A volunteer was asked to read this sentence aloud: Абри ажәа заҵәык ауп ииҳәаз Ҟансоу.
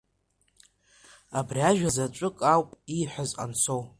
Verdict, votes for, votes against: rejected, 0, 2